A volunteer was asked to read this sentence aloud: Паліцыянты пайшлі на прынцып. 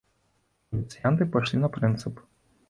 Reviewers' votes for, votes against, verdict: 0, 2, rejected